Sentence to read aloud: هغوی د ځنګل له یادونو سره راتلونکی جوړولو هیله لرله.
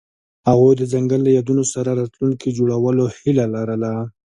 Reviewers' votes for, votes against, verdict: 2, 0, accepted